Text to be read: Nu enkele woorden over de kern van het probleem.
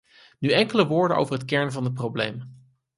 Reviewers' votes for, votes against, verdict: 2, 4, rejected